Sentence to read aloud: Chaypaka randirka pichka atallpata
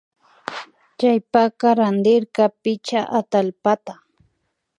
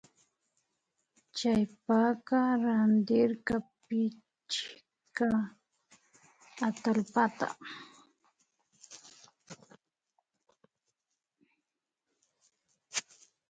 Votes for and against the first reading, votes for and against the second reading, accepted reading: 2, 0, 0, 2, first